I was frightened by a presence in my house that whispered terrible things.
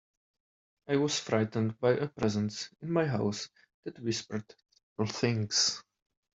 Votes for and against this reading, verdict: 0, 4, rejected